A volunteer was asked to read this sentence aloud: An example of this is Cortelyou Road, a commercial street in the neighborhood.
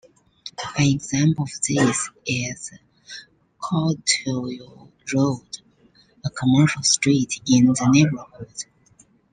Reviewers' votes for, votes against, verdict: 1, 2, rejected